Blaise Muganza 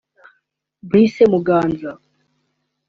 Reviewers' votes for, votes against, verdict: 2, 0, accepted